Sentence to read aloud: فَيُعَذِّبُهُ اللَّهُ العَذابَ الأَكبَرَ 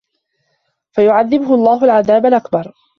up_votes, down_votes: 2, 0